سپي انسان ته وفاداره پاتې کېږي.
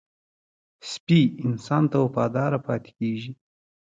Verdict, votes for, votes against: accepted, 2, 1